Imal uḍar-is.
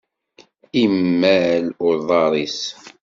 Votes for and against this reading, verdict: 2, 0, accepted